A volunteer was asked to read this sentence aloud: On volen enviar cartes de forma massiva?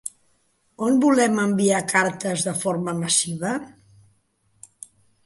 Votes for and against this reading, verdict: 1, 2, rejected